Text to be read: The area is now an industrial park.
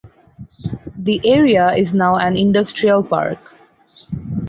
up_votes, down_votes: 2, 2